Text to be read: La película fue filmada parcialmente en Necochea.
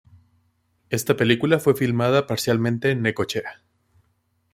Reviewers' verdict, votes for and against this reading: rejected, 1, 2